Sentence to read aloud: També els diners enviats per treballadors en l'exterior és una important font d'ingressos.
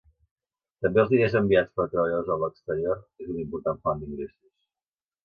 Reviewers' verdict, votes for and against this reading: rejected, 0, 2